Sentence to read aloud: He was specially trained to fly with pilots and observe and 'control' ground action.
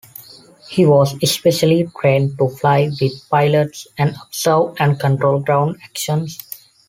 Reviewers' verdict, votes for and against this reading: rejected, 1, 2